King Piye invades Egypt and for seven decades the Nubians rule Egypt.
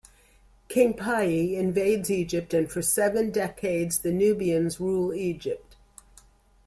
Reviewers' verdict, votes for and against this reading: accepted, 2, 0